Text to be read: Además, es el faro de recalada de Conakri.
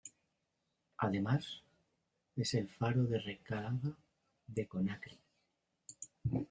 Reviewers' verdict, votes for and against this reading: rejected, 0, 2